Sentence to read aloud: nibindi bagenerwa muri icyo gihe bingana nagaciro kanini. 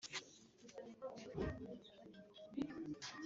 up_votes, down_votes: 1, 2